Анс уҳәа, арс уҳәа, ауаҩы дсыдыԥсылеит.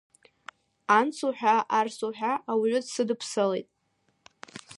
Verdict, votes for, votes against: rejected, 0, 2